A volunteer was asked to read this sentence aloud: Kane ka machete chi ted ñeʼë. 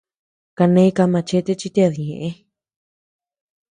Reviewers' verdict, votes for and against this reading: accepted, 2, 0